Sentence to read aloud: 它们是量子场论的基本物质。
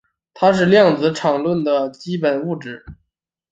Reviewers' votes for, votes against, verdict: 0, 2, rejected